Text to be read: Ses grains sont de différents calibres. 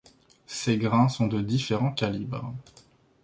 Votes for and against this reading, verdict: 2, 0, accepted